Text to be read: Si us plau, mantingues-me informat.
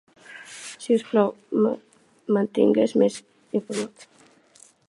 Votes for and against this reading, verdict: 0, 2, rejected